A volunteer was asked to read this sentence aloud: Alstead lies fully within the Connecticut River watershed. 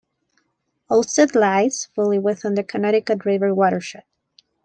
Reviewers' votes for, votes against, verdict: 2, 0, accepted